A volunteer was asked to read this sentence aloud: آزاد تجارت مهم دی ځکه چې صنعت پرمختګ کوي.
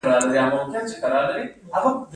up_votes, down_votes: 1, 2